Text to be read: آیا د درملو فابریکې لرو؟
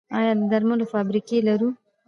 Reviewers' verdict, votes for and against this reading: accepted, 2, 0